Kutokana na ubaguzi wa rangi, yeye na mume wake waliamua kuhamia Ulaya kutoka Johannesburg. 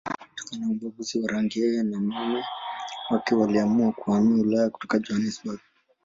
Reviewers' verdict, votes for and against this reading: rejected, 1, 2